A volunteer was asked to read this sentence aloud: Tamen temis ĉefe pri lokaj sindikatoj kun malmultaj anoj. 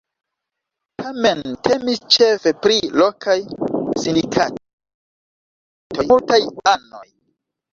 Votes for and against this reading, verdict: 0, 2, rejected